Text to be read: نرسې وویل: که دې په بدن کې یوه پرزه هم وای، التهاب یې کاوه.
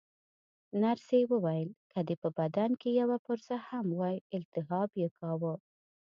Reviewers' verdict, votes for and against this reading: rejected, 1, 2